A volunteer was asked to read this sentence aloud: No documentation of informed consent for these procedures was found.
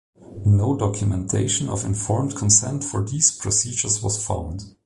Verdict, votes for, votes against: accepted, 2, 0